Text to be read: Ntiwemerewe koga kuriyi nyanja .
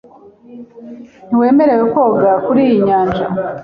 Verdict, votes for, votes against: accepted, 2, 0